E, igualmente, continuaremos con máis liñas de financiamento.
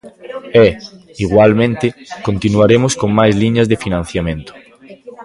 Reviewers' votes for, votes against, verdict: 2, 0, accepted